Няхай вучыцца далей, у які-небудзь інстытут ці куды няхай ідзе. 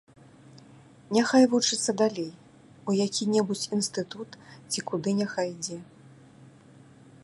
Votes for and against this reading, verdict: 2, 0, accepted